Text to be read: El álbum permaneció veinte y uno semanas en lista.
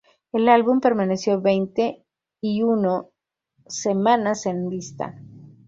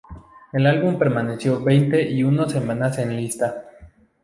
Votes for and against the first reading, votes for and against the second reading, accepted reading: 2, 2, 2, 0, second